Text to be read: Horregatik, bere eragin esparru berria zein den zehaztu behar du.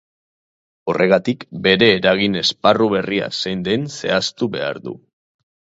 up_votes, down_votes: 0, 2